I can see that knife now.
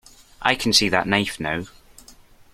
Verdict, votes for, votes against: accepted, 2, 0